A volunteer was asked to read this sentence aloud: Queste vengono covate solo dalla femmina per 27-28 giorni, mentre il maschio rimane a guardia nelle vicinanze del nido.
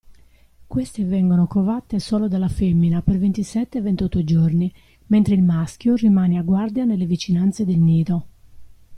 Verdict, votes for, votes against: rejected, 0, 2